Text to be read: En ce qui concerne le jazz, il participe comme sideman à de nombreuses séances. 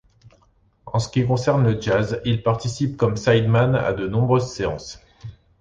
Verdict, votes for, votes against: accepted, 2, 0